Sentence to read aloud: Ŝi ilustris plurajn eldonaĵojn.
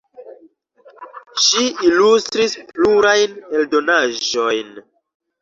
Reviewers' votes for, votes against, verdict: 2, 0, accepted